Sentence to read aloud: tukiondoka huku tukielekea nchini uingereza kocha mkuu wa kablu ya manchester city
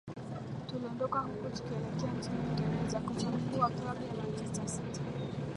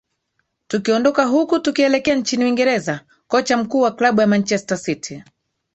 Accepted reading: second